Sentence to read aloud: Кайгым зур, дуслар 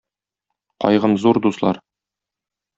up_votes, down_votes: 2, 0